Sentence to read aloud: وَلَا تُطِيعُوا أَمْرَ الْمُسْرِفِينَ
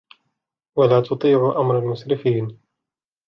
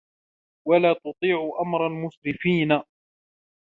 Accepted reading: second